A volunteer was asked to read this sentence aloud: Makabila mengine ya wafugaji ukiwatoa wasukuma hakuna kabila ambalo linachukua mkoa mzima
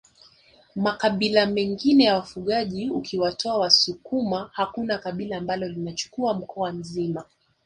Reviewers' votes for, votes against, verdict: 3, 1, accepted